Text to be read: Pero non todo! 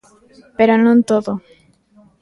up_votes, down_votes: 2, 0